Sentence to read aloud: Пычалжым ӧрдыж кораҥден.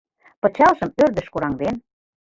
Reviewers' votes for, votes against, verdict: 2, 0, accepted